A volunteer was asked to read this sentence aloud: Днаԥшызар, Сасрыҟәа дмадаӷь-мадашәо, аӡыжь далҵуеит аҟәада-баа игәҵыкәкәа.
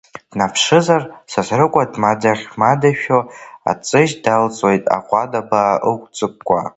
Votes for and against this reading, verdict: 0, 3, rejected